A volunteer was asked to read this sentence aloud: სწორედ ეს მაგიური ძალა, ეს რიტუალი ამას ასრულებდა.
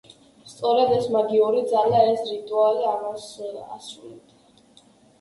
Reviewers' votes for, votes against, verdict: 2, 0, accepted